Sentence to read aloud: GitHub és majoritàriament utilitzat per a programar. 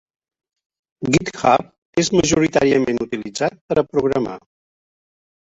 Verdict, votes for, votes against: rejected, 0, 2